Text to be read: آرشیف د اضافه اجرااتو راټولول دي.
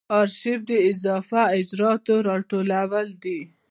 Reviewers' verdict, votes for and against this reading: accepted, 2, 0